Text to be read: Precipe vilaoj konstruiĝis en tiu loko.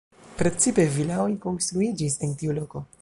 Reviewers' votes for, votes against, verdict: 1, 2, rejected